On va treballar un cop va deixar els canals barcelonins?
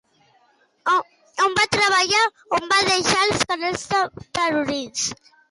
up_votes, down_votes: 0, 2